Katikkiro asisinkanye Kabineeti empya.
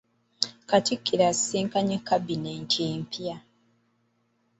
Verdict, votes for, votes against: rejected, 1, 2